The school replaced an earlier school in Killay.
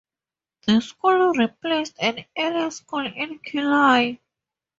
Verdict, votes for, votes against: accepted, 12, 10